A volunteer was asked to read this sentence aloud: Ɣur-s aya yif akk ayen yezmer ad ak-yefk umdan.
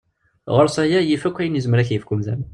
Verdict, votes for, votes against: accepted, 2, 0